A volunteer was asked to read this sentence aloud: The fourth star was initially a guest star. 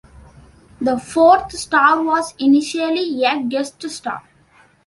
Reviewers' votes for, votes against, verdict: 2, 0, accepted